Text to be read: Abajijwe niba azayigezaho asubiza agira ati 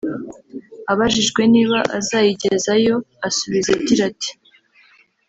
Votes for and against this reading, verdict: 1, 2, rejected